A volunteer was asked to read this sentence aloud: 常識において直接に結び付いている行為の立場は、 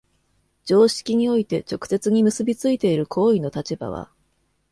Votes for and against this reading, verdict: 2, 0, accepted